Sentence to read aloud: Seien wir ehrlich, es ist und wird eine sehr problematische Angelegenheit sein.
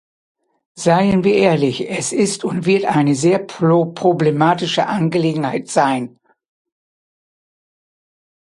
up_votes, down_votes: 0, 2